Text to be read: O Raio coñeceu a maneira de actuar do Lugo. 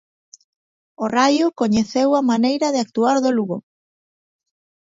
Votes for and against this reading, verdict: 2, 0, accepted